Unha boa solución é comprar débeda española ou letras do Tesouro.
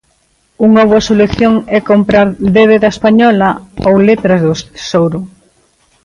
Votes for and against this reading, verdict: 1, 2, rejected